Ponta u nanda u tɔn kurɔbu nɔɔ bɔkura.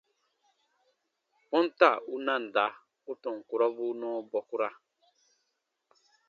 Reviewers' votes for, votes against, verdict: 2, 0, accepted